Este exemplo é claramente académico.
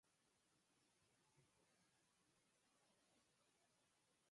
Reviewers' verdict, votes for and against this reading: rejected, 0, 4